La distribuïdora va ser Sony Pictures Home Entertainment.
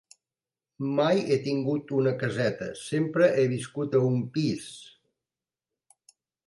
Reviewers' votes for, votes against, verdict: 0, 2, rejected